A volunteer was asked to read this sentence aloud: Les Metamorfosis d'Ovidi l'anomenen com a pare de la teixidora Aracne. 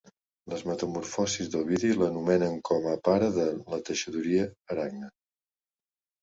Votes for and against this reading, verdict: 2, 3, rejected